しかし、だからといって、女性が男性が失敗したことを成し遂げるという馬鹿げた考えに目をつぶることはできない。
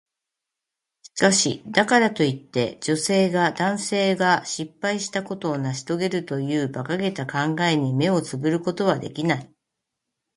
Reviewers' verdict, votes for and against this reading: accepted, 2, 0